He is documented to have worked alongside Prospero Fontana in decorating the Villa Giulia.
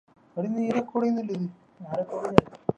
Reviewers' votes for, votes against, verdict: 0, 2, rejected